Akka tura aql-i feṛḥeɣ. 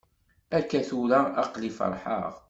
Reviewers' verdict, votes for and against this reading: accepted, 2, 0